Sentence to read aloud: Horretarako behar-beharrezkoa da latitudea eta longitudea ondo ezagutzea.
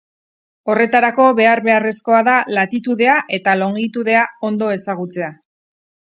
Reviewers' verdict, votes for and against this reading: accepted, 4, 0